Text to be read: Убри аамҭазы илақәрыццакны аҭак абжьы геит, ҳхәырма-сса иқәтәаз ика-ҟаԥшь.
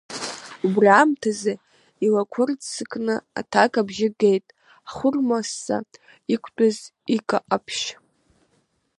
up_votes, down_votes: 2, 0